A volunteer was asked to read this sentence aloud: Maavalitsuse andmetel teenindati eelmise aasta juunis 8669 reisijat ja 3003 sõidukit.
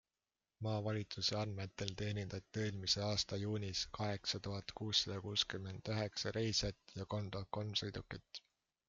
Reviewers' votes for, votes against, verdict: 0, 2, rejected